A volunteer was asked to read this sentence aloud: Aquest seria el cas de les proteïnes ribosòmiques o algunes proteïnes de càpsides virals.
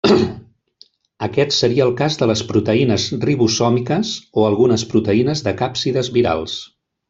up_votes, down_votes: 1, 2